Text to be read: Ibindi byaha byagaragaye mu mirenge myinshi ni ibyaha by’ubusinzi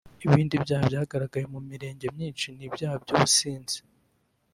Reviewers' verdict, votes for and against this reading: rejected, 0, 2